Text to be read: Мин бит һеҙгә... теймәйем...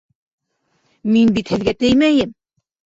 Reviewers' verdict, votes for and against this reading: rejected, 0, 2